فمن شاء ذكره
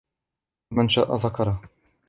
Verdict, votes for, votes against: rejected, 1, 2